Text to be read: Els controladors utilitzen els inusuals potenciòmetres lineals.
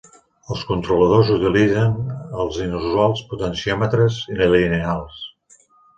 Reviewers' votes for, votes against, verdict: 0, 2, rejected